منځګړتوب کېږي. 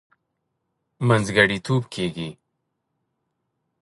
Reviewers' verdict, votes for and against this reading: rejected, 1, 2